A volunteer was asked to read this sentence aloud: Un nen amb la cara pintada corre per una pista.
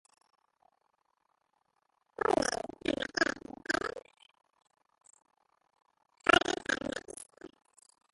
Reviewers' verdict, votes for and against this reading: rejected, 0, 2